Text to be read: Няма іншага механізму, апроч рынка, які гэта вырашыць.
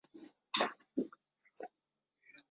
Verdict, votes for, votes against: rejected, 0, 2